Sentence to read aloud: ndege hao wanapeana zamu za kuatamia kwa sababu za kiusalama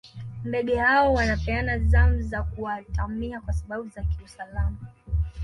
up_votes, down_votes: 2, 0